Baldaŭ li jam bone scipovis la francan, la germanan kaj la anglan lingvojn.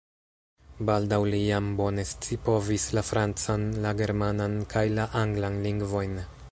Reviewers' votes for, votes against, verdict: 1, 2, rejected